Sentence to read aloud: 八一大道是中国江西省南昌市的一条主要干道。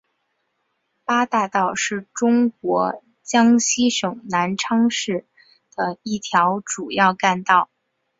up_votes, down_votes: 2, 1